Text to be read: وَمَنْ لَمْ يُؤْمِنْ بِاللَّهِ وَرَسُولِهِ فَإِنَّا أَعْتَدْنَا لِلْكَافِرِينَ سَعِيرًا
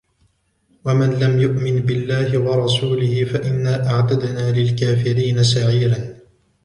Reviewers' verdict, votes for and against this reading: rejected, 1, 2